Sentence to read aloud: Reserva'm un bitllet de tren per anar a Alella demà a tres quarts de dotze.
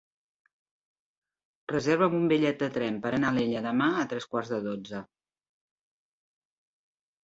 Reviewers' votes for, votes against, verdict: 2, 0, accepted